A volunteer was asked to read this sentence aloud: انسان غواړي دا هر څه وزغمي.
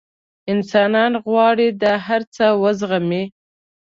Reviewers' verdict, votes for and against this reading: rejected, 1, 2